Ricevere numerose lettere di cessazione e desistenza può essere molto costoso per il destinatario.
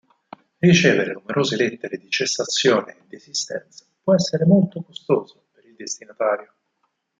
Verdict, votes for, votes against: rejected, 2, 4